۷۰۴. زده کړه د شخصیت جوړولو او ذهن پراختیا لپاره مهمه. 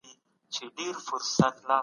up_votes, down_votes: 0, 2